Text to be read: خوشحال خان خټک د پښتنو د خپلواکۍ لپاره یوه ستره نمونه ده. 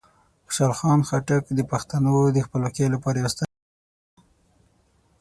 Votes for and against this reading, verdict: 0, 6, rejected